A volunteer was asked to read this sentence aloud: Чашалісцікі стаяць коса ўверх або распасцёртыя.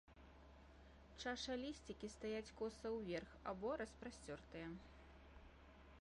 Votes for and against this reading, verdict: 2, 0, accepted